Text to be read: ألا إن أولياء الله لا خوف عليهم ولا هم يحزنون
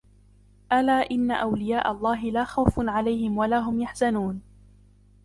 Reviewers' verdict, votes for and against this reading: rejected, 1, 2